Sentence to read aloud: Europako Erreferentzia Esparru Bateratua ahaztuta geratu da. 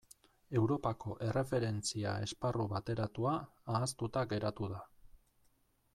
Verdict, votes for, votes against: accepted, 2, 0